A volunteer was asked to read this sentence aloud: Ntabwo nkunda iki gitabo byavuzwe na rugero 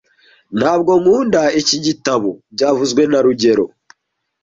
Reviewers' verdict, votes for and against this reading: accepted, 2, 0